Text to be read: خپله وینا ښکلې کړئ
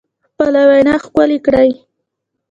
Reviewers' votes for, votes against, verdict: 2, 0, accepted